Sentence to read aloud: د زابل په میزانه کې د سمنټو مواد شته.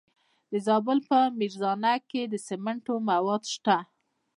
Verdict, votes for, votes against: rejected, 0, 2